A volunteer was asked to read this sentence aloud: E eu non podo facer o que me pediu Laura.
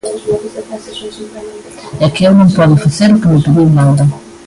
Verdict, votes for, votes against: rejected, 0, 2